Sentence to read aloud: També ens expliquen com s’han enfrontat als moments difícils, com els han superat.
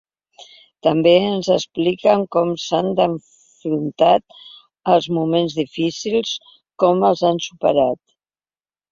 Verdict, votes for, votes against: rejected, 1, 2